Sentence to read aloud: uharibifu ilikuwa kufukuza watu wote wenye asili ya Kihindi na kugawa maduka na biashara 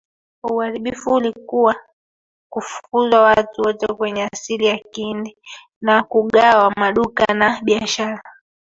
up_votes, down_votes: 1, 2